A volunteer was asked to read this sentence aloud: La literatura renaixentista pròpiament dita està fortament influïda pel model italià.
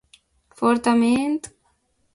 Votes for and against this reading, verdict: 1, 2, rejected